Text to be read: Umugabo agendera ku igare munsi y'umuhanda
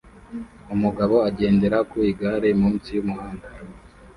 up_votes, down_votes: 2, 0